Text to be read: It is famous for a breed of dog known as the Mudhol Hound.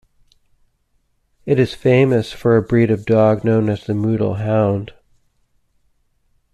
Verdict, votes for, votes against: accepted, 2, 0